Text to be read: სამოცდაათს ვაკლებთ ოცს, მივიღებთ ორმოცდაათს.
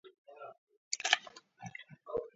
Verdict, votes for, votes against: rejected, 0, 2